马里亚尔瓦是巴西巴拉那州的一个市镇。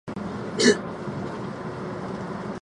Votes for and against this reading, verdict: 0, 2, rejected